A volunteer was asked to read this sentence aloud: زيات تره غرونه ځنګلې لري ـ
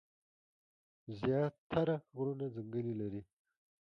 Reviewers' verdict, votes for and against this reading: accepted, 2, 0